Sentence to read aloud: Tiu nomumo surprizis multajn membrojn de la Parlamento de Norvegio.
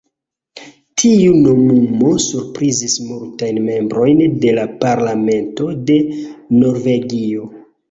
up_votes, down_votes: 0, 2